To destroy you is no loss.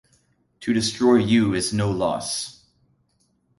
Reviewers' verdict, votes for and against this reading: accepted, 2, 0